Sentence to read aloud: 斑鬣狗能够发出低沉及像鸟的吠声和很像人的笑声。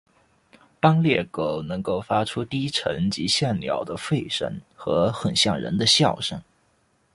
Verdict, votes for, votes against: accepted, 2, 1